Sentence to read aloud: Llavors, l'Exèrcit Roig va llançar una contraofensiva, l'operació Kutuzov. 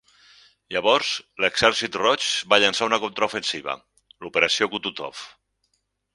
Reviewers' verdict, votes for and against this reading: accepted, 4, 0